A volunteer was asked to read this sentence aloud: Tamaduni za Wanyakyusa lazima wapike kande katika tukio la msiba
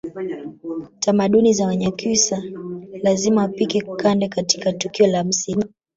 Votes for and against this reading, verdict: 2, 0, accepted